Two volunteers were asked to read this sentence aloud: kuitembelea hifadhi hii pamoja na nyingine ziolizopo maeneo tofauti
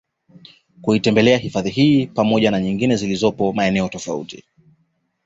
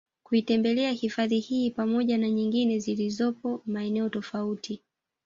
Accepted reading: first